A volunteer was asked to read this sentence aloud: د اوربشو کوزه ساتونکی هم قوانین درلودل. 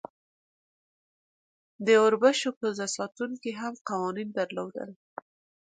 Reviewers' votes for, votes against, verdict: 2, 0, accepted